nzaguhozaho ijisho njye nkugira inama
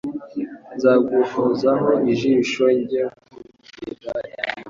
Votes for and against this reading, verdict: 0, 2, rejected